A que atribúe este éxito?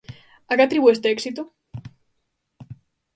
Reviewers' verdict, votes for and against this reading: accepted, 2, 0